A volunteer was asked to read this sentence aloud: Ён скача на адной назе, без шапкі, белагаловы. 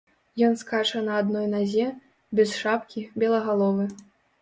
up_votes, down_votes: 1, 2